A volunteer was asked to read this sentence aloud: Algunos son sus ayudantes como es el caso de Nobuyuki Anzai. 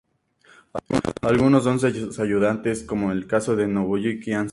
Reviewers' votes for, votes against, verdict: 0, 4, rejected